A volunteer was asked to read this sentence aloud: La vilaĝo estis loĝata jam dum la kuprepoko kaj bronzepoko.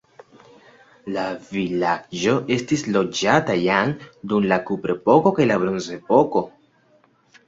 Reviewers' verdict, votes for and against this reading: accepted, 2, 0